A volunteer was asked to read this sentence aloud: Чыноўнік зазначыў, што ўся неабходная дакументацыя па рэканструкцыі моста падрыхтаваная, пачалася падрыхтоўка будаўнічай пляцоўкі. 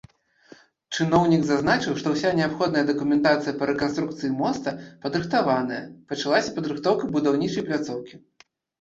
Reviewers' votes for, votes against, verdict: 2, 0, accepted